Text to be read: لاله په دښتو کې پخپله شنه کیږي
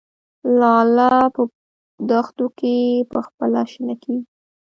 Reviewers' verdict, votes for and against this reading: accepted, 2, 0